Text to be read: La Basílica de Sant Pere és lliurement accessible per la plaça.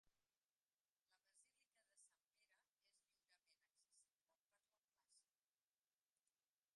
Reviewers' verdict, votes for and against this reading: rejected, 0, 2